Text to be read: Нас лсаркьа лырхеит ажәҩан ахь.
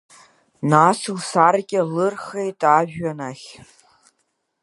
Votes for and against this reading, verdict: 3, 0, accepted